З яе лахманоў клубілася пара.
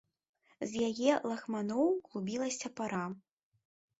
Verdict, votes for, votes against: rejected, 0, 2